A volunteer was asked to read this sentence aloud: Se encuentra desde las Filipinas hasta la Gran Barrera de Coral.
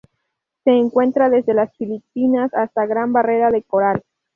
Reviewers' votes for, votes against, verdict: 0, 2, rejected